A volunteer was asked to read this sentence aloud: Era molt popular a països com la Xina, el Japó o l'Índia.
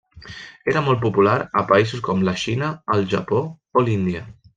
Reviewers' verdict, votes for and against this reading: rejected, 0, 2